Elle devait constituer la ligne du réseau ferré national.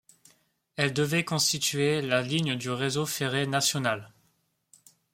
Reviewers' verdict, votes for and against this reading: accepted, 2, 0